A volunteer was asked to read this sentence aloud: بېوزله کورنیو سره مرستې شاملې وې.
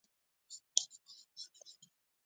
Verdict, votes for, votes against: accepted, 2, 0